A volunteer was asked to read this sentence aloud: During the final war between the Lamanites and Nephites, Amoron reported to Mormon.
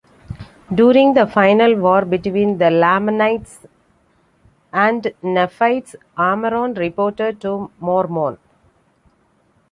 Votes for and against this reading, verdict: 2, 0, accepted